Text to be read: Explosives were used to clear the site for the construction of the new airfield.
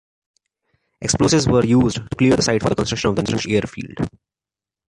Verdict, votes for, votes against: rejected, 1, 2